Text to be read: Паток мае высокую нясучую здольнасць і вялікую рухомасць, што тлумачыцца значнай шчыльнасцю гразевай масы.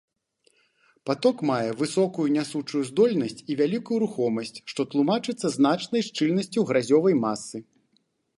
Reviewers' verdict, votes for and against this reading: rejected, 0, 2